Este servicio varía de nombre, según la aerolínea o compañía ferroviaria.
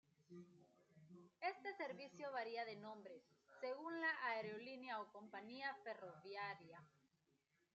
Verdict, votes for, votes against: accepted, 2, 0